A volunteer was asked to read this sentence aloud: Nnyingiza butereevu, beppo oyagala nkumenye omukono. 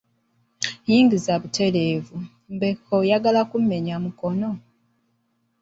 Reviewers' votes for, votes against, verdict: 1, 2, rejected